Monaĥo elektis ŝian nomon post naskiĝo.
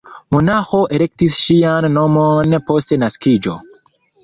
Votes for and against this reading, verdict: 2, 0, accepted